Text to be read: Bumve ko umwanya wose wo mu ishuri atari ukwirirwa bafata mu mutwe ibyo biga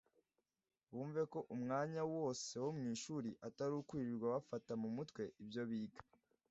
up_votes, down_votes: 2, 0